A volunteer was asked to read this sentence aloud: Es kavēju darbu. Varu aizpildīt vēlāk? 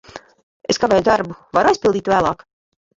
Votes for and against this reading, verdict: 1, 2, rejected